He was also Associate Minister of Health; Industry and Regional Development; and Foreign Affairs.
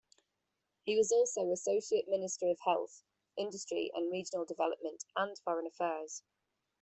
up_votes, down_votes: 2, 1